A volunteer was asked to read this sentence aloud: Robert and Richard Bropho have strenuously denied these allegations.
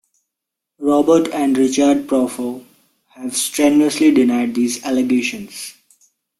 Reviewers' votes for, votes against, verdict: 2, 0, accepted